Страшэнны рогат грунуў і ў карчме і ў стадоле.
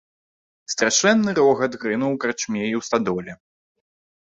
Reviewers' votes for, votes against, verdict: 0, 2, rejected